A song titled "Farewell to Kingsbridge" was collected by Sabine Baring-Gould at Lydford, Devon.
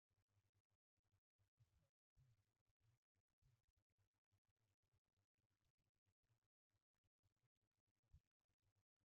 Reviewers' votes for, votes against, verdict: 0, 2, rejected